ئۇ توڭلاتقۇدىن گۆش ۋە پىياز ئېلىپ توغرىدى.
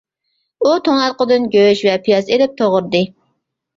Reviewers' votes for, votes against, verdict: 2, 0, accepted